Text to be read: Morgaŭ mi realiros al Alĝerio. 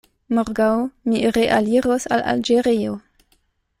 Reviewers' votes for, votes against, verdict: 2, 0, accepted